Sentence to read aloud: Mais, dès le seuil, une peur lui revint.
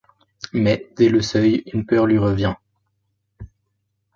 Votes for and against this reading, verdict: 0, 2, rejected